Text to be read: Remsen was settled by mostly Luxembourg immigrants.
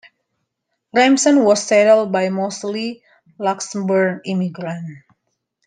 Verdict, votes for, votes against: accepted, 2, 0